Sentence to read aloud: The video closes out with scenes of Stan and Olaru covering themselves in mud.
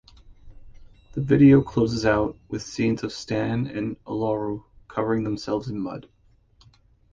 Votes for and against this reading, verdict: 2, 0, accepted